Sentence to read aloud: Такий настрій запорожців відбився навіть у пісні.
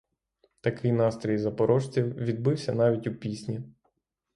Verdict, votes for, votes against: rejected, 3, 3